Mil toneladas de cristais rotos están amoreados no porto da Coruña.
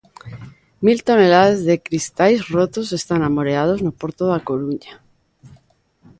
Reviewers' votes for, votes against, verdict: 2, 0, accepted